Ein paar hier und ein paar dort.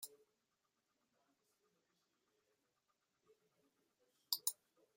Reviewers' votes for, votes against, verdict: 0, 2, rejected